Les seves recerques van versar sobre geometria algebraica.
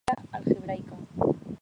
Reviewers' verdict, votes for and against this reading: rejected, 0, 2